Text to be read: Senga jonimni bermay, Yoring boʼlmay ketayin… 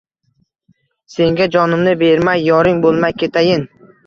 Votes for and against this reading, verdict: 2, 0, accepted